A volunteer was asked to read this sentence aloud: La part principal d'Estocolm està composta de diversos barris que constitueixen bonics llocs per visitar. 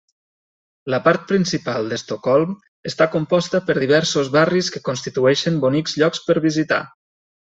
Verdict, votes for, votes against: rejected, 1, 3